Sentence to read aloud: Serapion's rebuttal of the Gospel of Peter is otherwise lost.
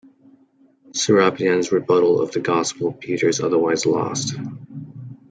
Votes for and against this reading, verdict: 1, 2, rejected